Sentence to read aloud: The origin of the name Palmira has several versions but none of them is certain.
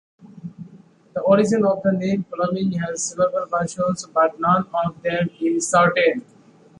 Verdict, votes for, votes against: rejected, 1, 2